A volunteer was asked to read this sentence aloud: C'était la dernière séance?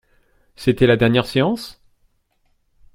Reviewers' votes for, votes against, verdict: 2, 0, accepted